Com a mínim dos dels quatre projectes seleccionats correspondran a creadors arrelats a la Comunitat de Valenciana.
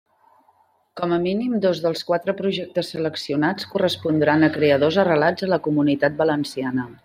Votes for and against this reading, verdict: 1, 2, rejected